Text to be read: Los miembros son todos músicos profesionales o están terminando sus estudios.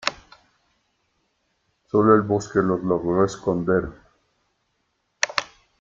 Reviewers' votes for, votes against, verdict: 0, 2, rejected